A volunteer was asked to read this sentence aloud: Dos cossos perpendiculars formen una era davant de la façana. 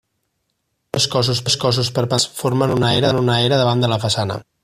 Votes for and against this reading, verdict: 0, 2, rejected